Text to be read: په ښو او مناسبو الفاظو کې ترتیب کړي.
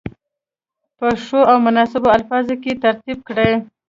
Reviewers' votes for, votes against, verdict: 2, 0, accepted